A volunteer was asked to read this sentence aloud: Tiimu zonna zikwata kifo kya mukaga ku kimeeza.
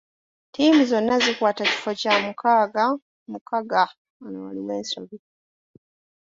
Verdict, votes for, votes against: rejected, 0, 2